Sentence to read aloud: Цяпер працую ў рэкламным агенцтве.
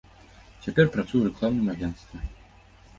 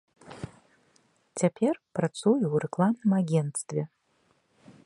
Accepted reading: second